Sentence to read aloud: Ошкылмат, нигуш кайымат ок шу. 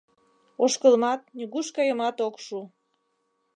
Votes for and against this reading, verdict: 2, 0, accepted